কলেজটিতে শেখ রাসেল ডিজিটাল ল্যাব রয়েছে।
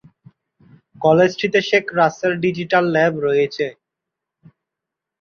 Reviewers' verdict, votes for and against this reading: accepted, 2, 0